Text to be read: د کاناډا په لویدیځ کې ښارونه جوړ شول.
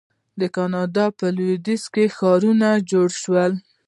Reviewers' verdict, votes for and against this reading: accepted, 2, 0